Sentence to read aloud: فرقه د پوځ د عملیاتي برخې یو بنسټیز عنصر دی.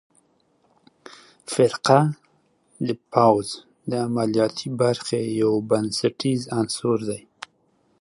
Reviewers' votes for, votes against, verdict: 2, 0, accepted